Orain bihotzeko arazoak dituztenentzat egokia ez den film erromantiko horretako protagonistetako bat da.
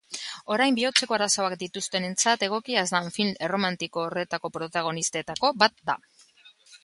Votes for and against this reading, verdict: 1, 2, rejected